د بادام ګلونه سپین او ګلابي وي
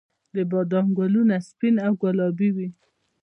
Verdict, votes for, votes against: accepted, 2, 0